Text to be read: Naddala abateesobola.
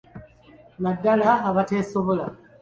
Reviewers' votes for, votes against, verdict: 2, 0, accepted